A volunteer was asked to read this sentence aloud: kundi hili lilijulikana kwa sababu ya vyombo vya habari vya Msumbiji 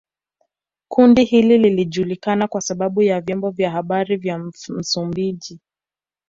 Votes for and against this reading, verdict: 2, 0, accepted